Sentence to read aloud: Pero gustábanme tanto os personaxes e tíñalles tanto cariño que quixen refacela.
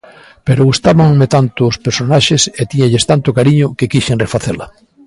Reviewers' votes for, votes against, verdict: 2, 0, accepted